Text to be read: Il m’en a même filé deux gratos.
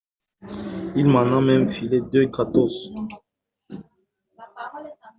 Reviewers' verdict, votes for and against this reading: accepted, 2, 0